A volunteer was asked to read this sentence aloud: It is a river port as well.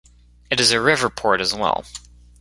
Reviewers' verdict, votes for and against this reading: rejected, 1, 2